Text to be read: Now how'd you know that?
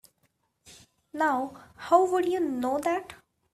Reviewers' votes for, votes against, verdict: 1, 2, rejected